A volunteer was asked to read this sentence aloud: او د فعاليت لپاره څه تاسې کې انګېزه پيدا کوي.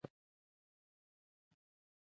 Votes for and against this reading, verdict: 0, 2, rejected